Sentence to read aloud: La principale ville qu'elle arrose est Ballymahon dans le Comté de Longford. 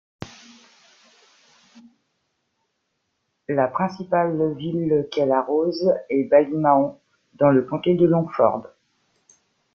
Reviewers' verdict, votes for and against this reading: rejected, 1, 2